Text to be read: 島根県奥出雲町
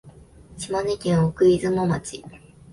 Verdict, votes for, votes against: accepted, 2, 0